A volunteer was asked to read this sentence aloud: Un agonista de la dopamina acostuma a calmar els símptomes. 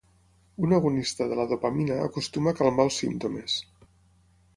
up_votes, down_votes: 6, 0